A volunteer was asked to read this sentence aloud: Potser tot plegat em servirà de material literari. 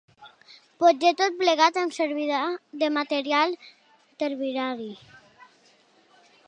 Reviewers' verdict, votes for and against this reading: rejected, 0, 2